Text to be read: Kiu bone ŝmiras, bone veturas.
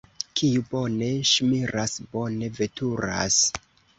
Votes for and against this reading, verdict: 2, 0, accepted